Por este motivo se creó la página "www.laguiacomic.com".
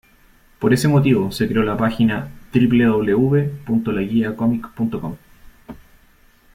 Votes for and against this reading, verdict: 2, 0, accepted